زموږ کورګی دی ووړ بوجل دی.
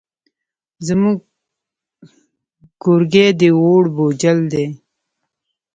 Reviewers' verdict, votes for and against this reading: rejected, 0, 2